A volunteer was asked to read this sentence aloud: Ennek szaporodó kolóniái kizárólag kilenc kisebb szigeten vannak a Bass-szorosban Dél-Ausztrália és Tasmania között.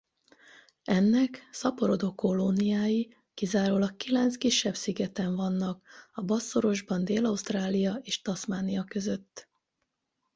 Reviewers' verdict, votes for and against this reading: rejected, 4, 4